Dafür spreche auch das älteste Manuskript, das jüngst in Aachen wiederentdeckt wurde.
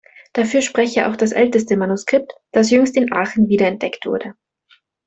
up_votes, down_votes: 2, 1